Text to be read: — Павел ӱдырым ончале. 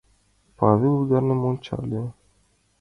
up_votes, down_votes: 2, 0